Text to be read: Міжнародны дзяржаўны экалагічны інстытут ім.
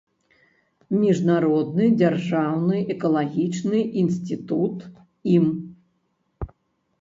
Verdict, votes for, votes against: rejected, 1, 2